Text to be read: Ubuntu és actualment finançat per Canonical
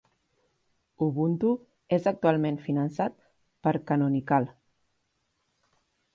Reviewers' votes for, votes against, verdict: 5, 0, accepted